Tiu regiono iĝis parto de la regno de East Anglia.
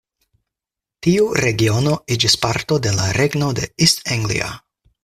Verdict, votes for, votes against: rejected, 0, 4